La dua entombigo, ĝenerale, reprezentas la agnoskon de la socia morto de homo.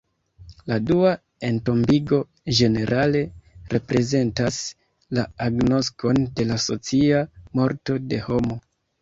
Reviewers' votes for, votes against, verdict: 2, 1, accepted